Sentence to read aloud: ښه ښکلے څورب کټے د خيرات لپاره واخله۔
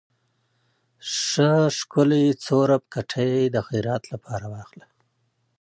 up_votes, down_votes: 2, 0